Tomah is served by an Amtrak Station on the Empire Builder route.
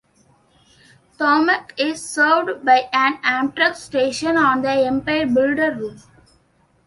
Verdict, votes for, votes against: rejected, 0, 2